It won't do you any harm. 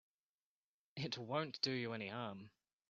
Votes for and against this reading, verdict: 1, 2, rejected